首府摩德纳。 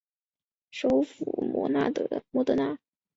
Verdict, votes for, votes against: rejected, 1, 2